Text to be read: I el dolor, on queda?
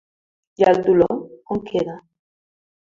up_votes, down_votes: 0, 2